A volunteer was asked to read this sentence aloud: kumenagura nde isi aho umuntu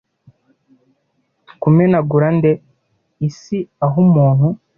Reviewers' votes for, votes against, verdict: 2, 0, accepted